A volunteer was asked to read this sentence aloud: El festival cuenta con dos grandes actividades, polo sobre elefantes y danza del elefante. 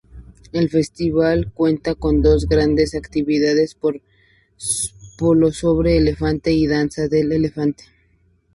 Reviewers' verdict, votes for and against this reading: accepted, 2, 0